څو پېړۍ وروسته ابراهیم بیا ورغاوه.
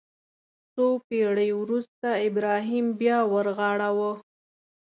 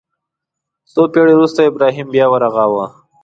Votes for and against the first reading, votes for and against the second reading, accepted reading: 0, 2, 2, 0, second